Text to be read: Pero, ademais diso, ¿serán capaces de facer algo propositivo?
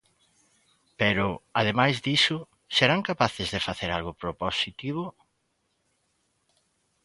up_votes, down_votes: 2, 1